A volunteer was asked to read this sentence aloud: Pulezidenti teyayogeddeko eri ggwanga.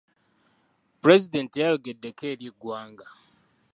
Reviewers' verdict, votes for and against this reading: accepted, 2, 0